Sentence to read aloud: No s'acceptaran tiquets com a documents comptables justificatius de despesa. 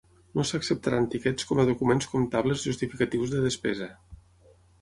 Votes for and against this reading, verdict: 9, 0, accepted